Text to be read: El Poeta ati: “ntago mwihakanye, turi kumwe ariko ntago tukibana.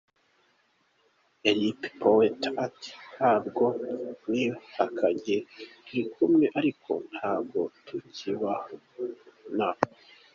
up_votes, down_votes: 2, 0